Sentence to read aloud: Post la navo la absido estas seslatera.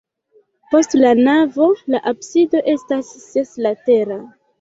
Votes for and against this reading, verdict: 2, 0, accepted